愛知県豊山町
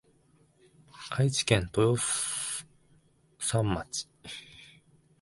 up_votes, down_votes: 0, 2